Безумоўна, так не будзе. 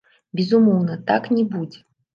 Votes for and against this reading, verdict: 0, 2, rejected